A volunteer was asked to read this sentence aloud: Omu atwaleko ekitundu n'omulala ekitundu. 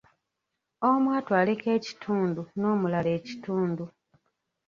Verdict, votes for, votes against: rejected, 0, 2